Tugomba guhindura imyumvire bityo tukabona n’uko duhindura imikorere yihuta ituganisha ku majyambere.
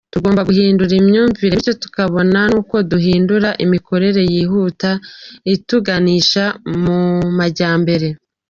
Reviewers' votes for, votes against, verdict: 2, 0, accepted